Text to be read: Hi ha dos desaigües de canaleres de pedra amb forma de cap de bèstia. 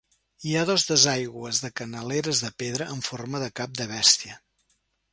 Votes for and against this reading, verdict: 2, 0, accepted